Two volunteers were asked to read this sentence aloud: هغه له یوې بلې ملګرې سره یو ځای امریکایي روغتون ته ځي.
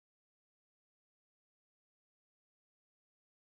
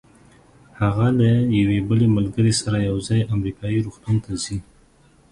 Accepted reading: second